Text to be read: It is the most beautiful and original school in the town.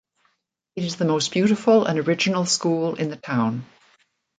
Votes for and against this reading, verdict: 2, 0, accepted